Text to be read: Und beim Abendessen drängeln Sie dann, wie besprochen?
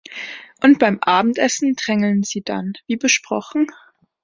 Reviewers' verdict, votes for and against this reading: accepted, 2, 0